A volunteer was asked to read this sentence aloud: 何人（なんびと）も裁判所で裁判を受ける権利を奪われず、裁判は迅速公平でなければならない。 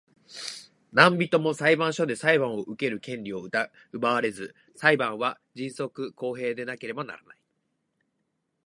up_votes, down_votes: 2, 0